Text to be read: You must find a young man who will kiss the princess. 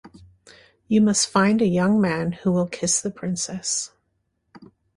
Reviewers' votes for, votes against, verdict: 2, 0, accepted